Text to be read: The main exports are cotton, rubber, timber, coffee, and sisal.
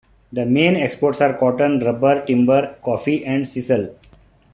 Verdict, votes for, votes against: accepted, 2, 0